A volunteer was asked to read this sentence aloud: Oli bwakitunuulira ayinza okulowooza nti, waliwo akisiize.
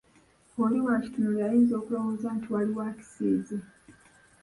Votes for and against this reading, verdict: 2, 1, accepted